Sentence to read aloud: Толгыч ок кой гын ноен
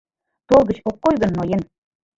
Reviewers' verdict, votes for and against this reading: rejected, 1, 2